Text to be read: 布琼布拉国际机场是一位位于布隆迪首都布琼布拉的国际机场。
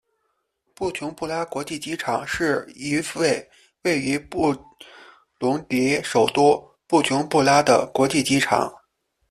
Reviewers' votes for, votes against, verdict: 0, 2, rejected